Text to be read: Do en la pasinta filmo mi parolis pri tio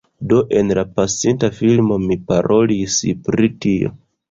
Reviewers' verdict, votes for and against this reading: rejected, 1, 2